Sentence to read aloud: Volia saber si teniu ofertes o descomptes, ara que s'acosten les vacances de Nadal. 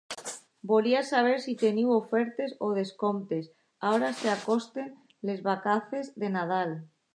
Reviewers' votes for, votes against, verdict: 0, 2, rejected